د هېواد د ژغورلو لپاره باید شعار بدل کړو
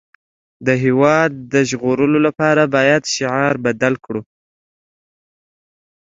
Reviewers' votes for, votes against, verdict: 2, 0, accepted